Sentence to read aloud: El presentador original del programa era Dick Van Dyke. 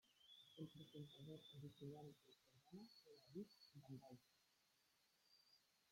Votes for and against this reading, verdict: 0, 2, rejected